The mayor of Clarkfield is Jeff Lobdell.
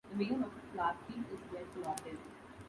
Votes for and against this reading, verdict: 0, 2, rejected